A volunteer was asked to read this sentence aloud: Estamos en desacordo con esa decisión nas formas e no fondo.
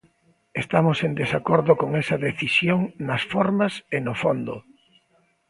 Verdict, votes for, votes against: accepted, 2, 0